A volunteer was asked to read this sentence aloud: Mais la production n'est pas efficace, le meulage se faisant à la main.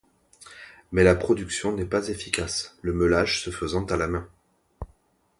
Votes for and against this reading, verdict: 2, 0, accepted